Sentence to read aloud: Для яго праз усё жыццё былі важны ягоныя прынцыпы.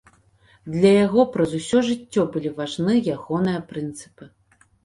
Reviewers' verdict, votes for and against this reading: rejected, 1, 2